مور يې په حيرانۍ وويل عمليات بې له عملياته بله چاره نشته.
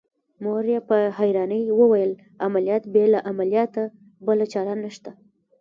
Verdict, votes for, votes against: rejected, 1, 2